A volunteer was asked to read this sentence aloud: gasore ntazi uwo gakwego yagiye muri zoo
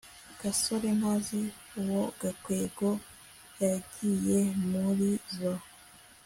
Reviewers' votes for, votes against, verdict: 2, 0, accepted